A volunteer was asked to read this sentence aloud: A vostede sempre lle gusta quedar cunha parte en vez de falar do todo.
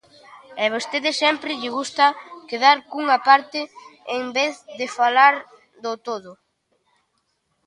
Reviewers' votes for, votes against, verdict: 0, 2, rejected